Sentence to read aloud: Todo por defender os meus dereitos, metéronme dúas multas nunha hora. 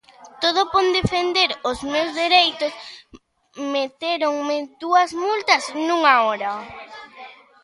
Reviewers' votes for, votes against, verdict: 0, 2, rejected